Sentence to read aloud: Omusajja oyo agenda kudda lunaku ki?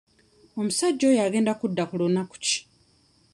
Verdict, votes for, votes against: rejected, 0, 2